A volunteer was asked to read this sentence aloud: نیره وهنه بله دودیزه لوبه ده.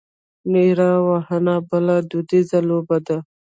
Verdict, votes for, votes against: rejected, 1, 2